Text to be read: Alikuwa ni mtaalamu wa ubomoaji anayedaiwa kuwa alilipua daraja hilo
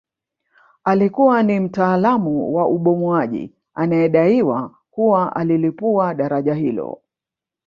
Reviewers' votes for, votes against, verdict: 3, 2, accepted